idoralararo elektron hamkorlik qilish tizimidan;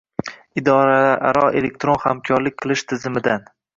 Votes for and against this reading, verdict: 1, 2, rejected